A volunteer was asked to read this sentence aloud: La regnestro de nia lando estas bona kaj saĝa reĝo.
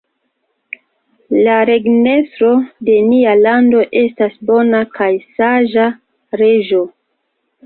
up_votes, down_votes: 2, 1